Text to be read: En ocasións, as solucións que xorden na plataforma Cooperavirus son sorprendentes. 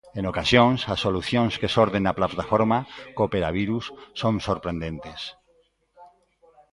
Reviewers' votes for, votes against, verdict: 0, 2, rejected